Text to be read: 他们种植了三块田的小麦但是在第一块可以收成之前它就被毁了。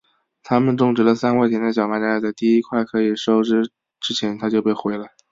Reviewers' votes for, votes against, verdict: 2, 0, accepted